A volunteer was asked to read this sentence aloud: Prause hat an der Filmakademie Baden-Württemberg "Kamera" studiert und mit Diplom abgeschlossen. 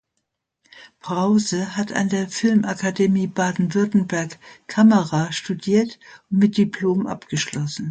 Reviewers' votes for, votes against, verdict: 2, 0, accepted